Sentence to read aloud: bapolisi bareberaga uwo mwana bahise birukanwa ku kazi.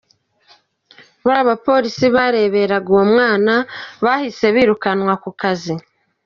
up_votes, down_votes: 1, 2